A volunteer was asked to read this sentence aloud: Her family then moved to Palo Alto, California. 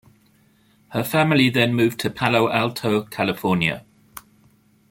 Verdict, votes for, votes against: accepted, 2, 0